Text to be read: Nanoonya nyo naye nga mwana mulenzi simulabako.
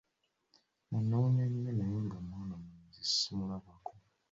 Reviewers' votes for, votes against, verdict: 2, 0, accepted